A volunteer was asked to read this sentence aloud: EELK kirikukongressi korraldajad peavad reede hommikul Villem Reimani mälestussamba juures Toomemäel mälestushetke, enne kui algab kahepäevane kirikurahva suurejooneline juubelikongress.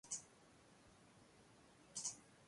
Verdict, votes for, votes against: rejected, 0, 2